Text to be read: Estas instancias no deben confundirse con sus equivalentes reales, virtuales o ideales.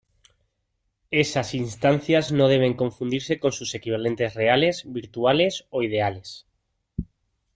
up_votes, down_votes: 2, 1